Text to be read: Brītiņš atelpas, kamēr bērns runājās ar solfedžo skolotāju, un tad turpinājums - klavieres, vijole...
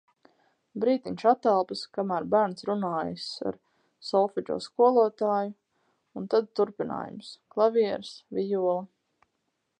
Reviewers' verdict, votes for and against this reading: rejected, 0, 2